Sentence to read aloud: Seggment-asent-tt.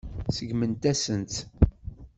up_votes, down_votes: 1, 2